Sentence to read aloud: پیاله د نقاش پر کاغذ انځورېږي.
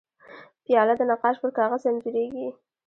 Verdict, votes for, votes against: rejected, 0, 2